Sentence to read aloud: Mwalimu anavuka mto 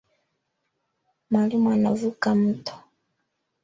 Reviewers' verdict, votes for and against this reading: accepted, 4, 1